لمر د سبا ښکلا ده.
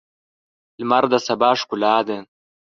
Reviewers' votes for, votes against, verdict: 3, 0, accepted